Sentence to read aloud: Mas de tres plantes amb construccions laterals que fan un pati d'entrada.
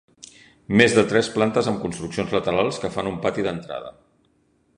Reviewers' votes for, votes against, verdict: 0, 2, rejected